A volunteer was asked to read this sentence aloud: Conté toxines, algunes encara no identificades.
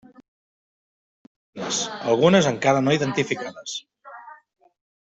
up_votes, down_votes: 0, 2